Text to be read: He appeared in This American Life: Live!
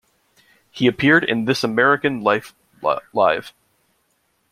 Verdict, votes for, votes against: rejected, 1, 2